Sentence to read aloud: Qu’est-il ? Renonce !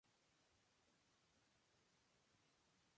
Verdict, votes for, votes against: rejected, 0, 2